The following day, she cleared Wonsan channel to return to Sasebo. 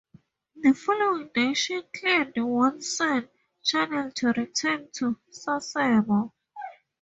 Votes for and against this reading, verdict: 2, 4, rejected